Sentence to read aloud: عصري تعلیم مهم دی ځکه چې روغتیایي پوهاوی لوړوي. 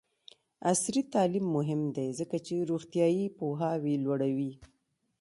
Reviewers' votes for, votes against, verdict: 2, 0, accepted